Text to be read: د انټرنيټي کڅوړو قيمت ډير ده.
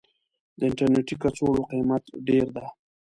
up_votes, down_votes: 2, 0